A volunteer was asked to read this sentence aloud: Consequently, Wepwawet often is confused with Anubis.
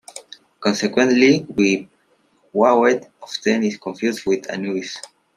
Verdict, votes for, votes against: rejected, 1, 2